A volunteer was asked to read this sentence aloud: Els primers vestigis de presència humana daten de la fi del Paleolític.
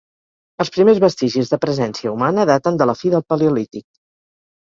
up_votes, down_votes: 2, 0